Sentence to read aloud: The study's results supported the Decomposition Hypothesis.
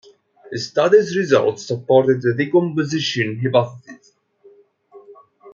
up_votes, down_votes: 1, 2